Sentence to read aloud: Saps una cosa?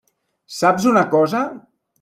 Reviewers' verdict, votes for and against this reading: accepted, 3, 0